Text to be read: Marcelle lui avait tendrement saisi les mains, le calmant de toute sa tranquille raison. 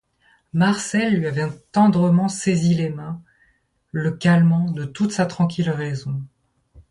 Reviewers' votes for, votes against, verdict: 2, 0, accepted